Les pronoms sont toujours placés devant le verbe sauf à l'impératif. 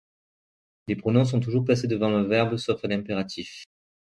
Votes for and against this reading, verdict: 0, 2, rejected